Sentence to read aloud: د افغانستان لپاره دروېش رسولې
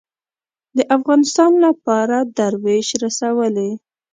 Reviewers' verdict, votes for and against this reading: rejected, 3, 5